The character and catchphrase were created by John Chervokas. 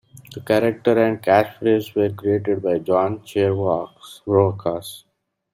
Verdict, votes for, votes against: rejected, 1, 2